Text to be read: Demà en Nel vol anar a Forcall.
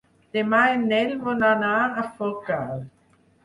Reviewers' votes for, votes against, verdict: 2, 4, rejected